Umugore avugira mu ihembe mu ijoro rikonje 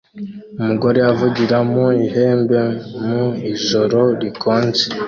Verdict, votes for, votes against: accepted, 2, 0